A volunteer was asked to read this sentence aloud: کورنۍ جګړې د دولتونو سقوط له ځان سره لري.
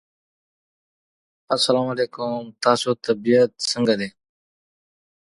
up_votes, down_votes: 1, 2